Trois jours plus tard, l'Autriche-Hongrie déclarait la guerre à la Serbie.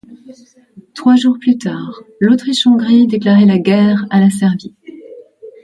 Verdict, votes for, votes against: accepted, 2, 0